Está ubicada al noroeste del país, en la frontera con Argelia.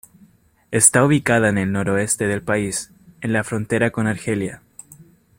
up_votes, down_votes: 0, 2